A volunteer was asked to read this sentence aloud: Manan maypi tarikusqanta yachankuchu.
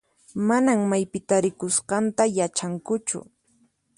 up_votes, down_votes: 4, 0